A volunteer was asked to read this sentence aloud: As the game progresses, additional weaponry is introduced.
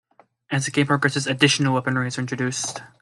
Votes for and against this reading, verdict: 2, 0, accepted